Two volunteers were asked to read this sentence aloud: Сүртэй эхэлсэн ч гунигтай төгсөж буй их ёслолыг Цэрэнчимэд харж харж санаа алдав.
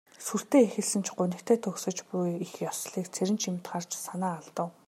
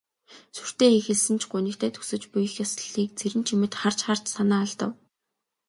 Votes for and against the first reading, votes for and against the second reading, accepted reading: 1, 2, 2, 0, second